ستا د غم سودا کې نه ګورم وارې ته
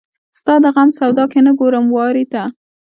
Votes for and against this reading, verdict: 2, 0, accepted